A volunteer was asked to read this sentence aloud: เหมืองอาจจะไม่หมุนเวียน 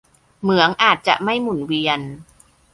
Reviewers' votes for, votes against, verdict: 2, 0, accepted